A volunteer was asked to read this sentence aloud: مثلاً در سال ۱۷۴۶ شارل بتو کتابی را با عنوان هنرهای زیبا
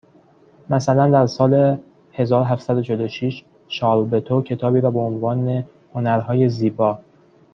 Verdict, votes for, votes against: rejected, 0, 2